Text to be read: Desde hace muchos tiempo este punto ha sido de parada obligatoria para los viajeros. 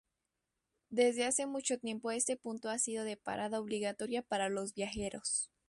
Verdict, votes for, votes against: rejected, 0, 2